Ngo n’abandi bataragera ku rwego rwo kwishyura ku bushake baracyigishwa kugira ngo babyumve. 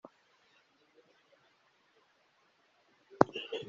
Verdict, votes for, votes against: rejected, 0, 2